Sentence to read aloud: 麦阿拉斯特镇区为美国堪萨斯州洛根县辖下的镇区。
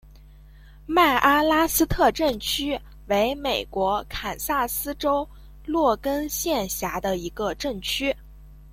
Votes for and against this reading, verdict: 1, 2, rejected